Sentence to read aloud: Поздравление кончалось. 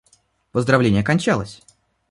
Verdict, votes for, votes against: accepted, 2, 0